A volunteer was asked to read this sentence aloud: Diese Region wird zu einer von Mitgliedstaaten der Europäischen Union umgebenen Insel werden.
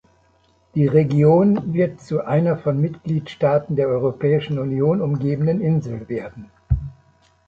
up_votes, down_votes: 1, 2